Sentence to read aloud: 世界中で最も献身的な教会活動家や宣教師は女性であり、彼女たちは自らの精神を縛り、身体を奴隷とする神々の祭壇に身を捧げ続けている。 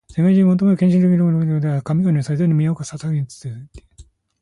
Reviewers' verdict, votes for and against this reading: accepted, 2, 0